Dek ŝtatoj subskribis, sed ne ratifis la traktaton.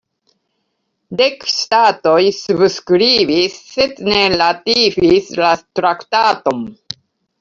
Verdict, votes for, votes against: rejected, 0, 2